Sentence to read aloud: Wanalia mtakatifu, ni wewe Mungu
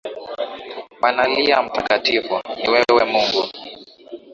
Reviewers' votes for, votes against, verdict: 2, 1, accepted